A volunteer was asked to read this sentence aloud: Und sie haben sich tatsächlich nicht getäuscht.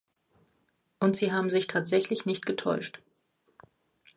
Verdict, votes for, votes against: accepted, 2, 0